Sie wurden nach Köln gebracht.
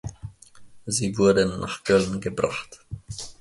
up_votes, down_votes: 2, 1